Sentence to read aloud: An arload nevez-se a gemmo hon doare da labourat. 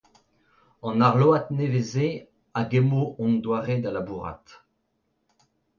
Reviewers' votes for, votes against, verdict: 2, 0, accepted